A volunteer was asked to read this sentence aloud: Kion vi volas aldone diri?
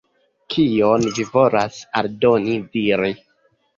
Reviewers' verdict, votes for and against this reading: accepted, 2, 1